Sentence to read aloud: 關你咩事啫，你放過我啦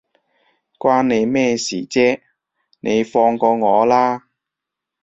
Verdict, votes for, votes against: accepted, 2, 0